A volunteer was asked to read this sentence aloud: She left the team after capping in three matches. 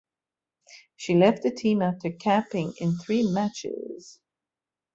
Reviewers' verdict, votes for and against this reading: accepted, 3, 0